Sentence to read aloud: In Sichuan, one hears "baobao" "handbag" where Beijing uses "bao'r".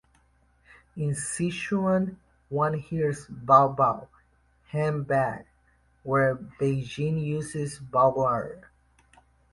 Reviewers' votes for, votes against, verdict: 2, 0, accepted